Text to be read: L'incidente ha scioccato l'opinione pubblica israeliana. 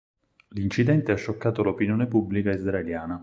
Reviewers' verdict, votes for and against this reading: accepted, 4, 0